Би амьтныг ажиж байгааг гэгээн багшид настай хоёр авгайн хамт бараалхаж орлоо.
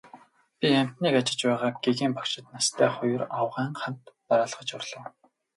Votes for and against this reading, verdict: 2, 2, rejected